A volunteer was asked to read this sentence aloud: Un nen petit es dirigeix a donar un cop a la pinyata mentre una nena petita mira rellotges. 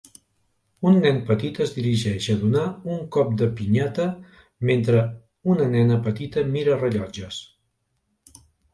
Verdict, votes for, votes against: rejected, 1, 2